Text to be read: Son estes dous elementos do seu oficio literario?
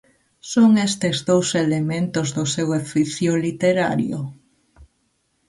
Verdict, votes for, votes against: rejected, 1, 2